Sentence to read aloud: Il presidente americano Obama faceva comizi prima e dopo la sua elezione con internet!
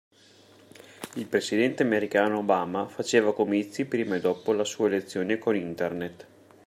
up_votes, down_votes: 2, 1